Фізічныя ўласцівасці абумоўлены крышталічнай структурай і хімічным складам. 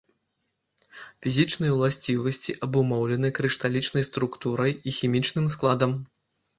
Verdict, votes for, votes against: accepted, 2, 0